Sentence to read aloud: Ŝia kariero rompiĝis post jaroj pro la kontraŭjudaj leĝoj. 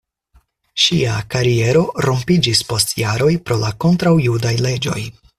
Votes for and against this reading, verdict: 4, 0, accepted